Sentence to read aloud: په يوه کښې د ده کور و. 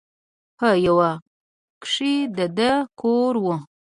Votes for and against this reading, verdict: 2, 1, accepted